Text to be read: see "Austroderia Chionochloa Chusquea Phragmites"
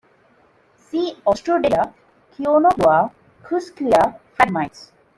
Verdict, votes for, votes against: rejected, 0, 2